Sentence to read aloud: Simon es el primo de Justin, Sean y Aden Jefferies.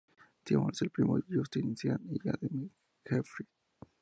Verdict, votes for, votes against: rejected, 0, 2